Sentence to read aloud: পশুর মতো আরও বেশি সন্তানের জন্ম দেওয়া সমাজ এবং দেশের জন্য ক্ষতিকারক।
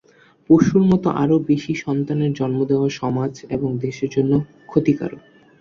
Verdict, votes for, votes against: accepted, 7, 1